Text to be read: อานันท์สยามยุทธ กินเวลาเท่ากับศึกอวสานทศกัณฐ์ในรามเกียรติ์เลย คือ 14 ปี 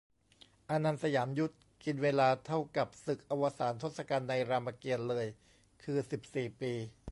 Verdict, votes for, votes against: rejected, 0, 2